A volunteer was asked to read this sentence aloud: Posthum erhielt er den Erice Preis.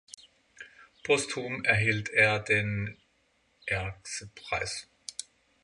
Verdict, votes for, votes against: rejected, 0, 6